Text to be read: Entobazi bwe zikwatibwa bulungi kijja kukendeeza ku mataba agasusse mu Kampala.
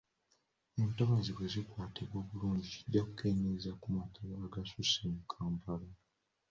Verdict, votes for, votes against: accepted, 2, 0